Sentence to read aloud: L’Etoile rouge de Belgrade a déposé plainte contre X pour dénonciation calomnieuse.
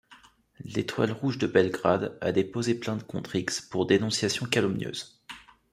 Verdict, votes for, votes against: accepted, 2, 0